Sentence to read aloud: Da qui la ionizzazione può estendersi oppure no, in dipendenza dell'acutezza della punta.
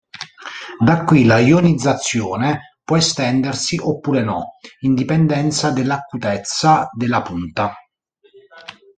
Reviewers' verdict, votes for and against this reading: accepted, 2, 0